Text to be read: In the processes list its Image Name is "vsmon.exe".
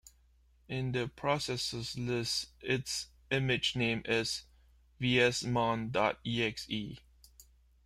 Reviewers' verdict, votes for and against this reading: rejected, 1, 2